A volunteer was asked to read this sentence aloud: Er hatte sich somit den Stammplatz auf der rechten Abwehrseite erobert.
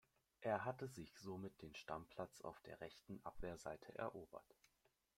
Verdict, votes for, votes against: rejected, 0, 2